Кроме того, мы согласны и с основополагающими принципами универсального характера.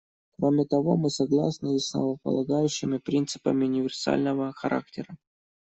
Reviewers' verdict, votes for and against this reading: rejected, 0, 2